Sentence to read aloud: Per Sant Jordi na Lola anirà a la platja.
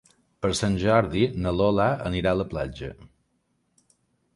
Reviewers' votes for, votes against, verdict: 3, 0, accepted